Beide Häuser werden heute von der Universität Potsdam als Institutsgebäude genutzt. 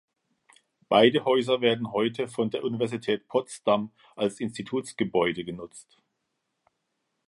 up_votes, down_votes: 2, 0